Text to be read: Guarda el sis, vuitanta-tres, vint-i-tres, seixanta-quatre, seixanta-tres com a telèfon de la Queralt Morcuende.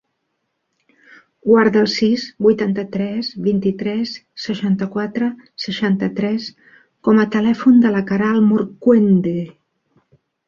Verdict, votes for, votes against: accepted, 3, 0